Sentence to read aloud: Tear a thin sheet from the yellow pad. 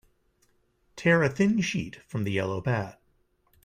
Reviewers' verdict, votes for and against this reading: accepted, 2, 0